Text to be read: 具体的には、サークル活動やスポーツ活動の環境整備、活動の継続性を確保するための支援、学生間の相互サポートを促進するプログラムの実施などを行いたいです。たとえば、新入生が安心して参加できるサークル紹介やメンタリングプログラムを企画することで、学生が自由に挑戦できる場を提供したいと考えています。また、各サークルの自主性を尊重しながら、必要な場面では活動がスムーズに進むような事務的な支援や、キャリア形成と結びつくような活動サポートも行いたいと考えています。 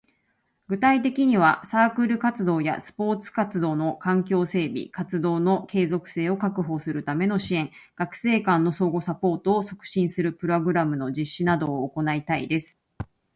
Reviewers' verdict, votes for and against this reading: accepted, 2, 0